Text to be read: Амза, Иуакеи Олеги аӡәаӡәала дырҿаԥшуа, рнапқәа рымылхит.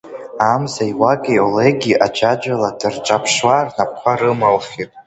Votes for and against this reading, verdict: 2, 1, accepted